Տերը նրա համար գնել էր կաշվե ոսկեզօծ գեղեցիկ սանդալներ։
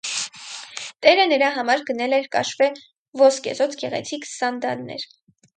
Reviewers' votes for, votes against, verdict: 2, 4, rejected